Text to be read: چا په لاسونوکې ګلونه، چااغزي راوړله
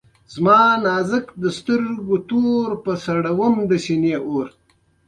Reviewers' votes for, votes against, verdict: 2, 0, accepted